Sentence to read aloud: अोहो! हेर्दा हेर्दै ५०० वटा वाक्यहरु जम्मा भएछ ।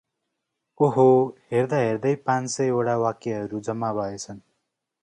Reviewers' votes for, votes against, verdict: 0, 2, rejected